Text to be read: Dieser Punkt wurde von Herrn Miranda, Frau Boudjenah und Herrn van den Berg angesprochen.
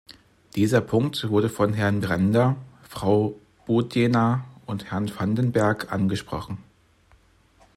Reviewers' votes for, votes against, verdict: 1, 2, rejected